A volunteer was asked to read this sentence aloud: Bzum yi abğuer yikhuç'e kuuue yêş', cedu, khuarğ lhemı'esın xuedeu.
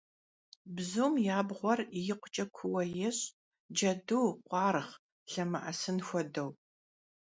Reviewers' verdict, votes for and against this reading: accepted, 2, 0